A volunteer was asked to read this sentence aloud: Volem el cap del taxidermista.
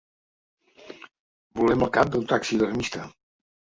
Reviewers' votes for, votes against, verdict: 0, 2, rejected